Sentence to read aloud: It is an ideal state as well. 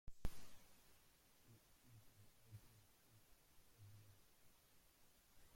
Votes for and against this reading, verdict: 0, 2, rejected